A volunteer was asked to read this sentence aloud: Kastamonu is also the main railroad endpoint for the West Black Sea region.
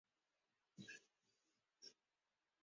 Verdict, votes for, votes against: rejected, 0, 4